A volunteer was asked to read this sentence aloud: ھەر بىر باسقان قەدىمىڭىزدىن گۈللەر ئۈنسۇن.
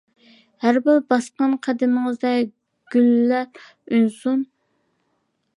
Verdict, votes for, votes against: rejected, 0, 2